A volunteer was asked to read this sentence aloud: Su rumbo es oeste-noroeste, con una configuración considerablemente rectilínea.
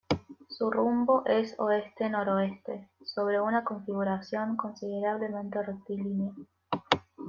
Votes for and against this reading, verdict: 1, 2, rejected